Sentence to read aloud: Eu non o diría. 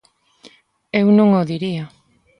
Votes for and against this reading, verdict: 2, 0, accepted